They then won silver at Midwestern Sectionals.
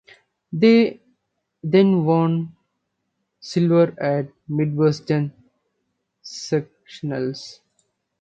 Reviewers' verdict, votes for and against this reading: accepted, 2, 0